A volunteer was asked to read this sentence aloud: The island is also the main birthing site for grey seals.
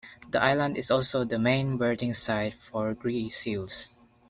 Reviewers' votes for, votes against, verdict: 1, 2, rejected